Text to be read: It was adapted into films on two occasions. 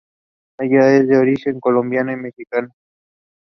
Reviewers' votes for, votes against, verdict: 2, 0, accepted